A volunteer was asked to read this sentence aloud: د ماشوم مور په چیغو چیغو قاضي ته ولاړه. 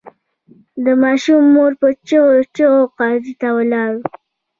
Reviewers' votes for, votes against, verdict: 2, 0, accepted